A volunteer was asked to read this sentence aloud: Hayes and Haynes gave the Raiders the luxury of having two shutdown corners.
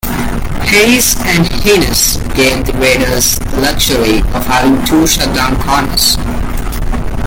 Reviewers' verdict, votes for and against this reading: rejected, 1, 2